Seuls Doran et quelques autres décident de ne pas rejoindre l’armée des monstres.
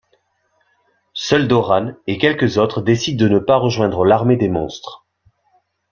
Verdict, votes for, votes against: accepted, 3, 0